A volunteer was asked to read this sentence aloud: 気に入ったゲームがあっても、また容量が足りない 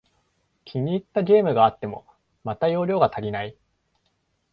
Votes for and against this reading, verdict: 2, 0, accepted